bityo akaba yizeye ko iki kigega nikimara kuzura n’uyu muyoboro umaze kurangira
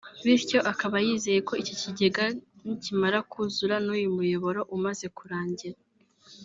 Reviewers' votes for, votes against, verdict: 2, 0, accepted